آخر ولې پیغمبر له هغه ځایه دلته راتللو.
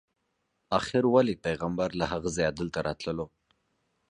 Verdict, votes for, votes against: accepted, 2, 0